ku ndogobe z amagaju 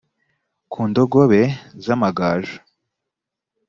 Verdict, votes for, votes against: accepted, 3, 1